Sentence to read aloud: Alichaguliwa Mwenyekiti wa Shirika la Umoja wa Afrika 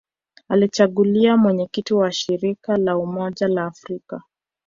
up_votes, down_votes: 1, 3